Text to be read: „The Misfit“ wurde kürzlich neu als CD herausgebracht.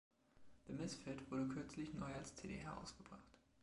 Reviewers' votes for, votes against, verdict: 2, 1, accepted